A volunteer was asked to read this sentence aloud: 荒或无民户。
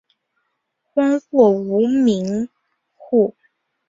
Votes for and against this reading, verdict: 4, 0, accepted